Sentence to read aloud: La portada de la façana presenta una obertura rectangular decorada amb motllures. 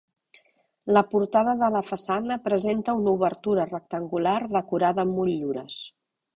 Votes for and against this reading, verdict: 2, 1, accepted